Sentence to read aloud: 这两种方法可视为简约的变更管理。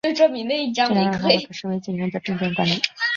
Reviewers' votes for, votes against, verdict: 0, 2, rejected